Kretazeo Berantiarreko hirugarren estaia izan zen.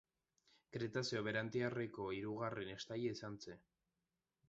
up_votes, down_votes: 1, 2